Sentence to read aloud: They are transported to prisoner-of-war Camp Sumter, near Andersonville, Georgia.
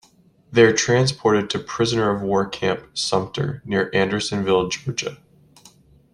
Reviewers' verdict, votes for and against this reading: rejected, 0, 2